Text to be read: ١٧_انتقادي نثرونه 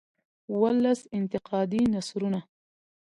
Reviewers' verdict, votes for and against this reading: rejected, 0, 2